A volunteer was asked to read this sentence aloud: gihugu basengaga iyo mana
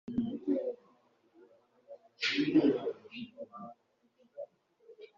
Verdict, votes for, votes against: rejected, 0, 2